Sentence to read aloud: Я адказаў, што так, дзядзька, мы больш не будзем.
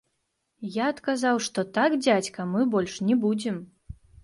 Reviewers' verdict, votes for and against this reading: rejected, 1, 2